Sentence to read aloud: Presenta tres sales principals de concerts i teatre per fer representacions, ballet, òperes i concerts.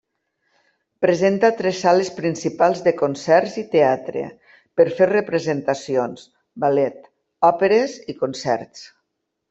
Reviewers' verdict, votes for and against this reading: rejected, 1, 2